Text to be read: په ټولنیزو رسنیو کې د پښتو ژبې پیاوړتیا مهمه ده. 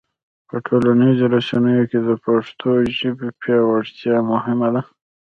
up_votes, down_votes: 1, 2